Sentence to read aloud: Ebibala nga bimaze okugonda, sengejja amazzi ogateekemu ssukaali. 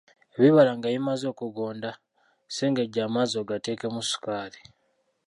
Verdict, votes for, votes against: rejected, 0, 2